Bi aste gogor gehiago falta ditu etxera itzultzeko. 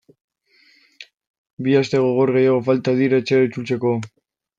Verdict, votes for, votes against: rejected, 0, 2